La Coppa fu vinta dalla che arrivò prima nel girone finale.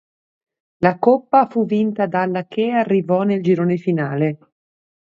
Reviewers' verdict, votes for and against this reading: rejected, 1, 2